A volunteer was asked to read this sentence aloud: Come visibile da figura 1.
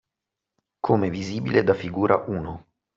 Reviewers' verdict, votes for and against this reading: rejected, 0, 2